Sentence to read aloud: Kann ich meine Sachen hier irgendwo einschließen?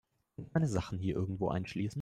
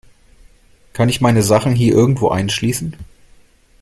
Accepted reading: second